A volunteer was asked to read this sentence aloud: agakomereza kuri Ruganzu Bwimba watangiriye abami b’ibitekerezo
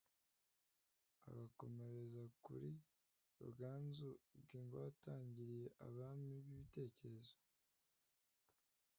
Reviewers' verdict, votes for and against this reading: rejected, 1, 2